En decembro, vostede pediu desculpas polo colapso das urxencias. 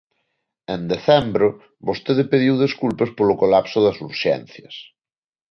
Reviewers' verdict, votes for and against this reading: accepted, 2, 0